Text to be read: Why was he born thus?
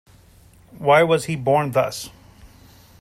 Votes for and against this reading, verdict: 2, 0, accepted